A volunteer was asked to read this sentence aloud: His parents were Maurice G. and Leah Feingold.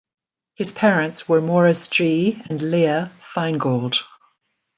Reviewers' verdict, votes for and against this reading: accepted, 2, 0